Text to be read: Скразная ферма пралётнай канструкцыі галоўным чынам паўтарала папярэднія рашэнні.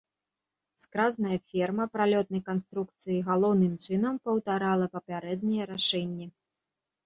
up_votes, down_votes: 0, 2